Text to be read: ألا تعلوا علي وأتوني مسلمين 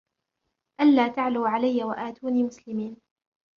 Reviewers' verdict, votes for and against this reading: accepted, 2, 1